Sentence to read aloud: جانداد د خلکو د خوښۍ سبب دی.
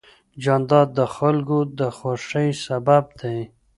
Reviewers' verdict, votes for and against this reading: accepted, 2, 0